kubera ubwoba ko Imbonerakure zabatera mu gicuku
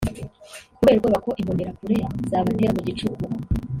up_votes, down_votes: 0, 2